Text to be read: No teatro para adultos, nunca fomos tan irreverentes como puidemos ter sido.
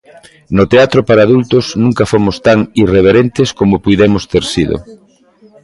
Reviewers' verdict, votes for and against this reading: accepted, 2, 0